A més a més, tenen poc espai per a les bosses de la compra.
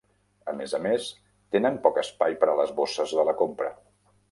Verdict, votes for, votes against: accepted, 3, 0